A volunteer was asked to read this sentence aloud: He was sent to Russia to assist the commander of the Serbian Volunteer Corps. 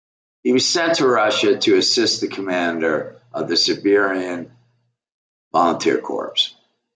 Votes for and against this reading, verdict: 0, 2, rejected